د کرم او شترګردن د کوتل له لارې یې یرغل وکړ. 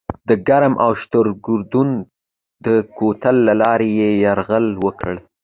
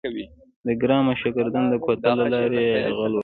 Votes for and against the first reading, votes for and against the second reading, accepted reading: 2, 0, 0, 2, first